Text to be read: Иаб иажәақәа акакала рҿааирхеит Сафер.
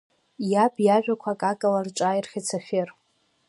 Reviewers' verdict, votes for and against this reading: accepted, 2, 0